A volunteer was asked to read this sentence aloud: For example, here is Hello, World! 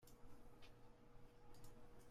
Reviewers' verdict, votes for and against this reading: rejected, 0, 2